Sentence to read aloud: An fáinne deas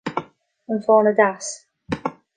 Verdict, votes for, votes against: accepted, 2, 0